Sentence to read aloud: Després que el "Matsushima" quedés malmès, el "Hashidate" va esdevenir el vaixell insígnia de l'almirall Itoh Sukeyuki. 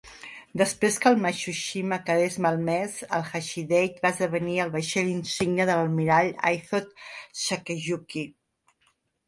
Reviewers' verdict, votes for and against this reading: rejected, 1, 2